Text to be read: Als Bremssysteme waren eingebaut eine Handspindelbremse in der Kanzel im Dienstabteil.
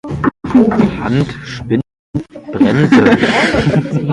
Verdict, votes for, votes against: rejected, 0, 2